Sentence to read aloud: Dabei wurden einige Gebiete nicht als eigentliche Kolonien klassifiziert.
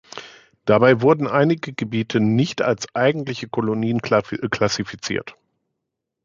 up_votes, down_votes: 0, 2